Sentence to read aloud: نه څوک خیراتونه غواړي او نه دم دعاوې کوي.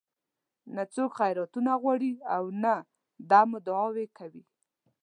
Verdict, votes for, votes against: accepted, 2, 0